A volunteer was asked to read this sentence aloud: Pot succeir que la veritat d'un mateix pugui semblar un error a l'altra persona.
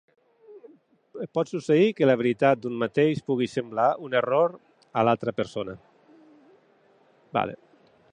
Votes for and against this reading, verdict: 0, 3, rejected